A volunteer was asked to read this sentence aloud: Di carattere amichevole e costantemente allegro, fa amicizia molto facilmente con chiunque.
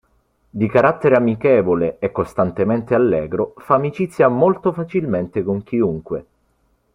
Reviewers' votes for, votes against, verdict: 2, 0, accepted